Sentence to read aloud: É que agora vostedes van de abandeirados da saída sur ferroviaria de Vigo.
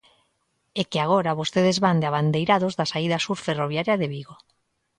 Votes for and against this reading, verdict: 2, 0, accepted